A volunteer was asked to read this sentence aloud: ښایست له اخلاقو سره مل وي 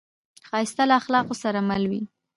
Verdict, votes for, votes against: rejected, 1, 2